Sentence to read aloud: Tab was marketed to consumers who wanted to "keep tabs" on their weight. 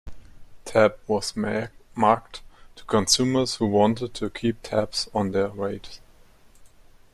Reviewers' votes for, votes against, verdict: 0, 2, rejected